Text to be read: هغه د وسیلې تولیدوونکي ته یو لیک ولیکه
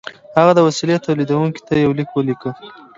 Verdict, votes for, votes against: accepted, 2, 0